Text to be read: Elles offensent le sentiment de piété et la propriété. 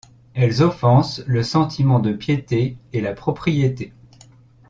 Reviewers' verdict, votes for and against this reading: accepted, 2, 0